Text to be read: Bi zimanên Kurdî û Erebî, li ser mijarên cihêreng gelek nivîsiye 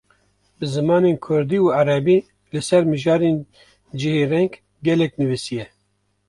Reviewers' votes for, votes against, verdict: 2, 0, accepted